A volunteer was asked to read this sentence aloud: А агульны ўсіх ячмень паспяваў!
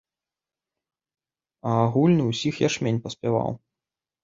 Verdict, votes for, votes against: accepted, 2, 0